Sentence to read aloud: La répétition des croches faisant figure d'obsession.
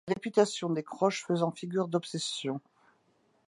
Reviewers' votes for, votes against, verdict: 1, 2, rejected